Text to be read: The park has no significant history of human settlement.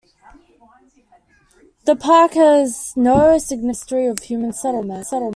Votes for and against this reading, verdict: 0, 2, rejected